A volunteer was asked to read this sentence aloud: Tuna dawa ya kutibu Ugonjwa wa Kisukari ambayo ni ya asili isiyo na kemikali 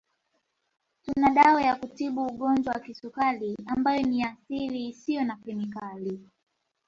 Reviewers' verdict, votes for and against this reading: accepted, 2, 0